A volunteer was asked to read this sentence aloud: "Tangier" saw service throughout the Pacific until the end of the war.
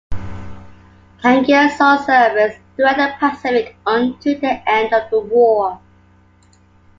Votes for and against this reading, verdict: 0, 2, rejected